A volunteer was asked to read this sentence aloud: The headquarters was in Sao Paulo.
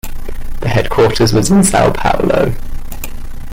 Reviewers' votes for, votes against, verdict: 1, 2, rejected